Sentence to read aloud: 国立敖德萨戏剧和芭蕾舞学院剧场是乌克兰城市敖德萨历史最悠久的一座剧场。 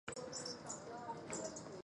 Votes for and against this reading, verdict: 0, 4, rejected